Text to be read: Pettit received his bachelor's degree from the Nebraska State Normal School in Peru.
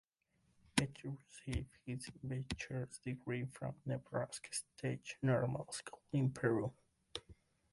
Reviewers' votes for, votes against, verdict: 0, 2, rejected